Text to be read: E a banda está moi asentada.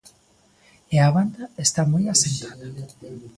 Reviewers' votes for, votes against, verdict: 2, 0, accepted